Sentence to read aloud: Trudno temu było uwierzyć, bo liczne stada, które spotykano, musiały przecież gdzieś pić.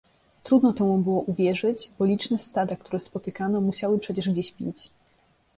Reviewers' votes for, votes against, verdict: 2, 0, accepted